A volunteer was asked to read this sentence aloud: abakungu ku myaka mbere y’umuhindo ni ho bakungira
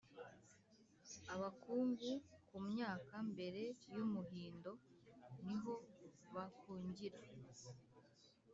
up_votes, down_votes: 2, 1